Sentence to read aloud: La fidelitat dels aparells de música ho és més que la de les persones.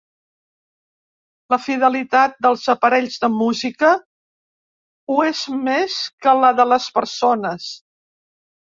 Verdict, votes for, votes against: accepted, 3, 0